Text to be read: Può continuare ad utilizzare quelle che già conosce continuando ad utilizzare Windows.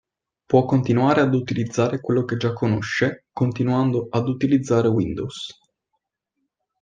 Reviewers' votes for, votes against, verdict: 2, 1, accepted